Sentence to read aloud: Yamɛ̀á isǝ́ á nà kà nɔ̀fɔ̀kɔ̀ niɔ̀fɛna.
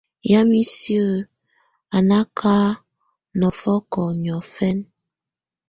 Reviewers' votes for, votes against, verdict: 2, 0, accepted